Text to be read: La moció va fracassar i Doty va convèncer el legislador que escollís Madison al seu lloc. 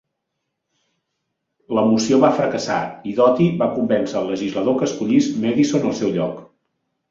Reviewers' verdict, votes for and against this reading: accepted, 3, 0